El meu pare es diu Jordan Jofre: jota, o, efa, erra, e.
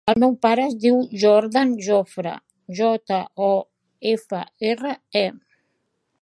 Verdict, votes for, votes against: accepted, 4, 0